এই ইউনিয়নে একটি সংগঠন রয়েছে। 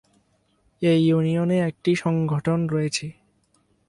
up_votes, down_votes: 6, 0